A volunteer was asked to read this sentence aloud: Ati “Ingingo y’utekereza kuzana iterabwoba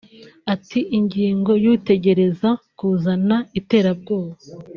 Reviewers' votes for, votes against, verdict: 0, 2, rejected